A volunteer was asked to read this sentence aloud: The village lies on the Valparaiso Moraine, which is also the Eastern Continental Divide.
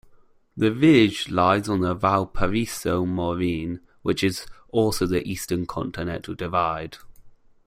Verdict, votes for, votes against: accepted, 2, 1